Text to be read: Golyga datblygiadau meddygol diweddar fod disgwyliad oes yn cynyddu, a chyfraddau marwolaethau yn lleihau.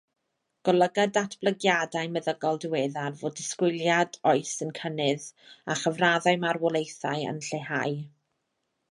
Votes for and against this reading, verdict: 1, 2, rejected